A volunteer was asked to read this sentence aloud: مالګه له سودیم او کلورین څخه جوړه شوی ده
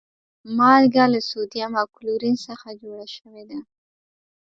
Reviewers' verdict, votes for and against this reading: rejected, 1, 2